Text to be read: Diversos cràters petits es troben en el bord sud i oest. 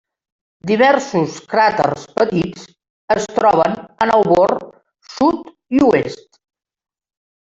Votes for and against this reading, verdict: 1, 2, rejected